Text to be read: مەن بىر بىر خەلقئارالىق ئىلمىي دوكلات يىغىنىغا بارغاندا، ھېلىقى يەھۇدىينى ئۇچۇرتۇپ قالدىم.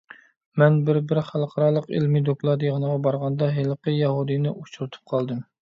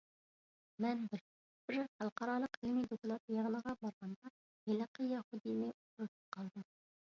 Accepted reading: first